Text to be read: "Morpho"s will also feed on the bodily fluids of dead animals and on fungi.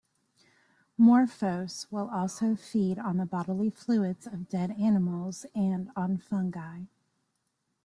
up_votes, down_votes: 2, 0